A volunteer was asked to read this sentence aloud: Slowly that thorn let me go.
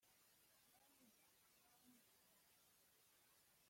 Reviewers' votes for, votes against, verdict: 1, 2, rejected